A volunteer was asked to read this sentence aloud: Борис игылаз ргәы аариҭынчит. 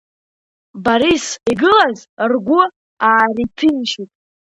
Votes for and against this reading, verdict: 1, 2, rejected